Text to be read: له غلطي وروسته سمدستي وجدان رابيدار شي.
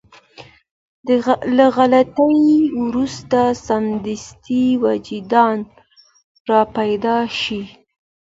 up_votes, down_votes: 2, 0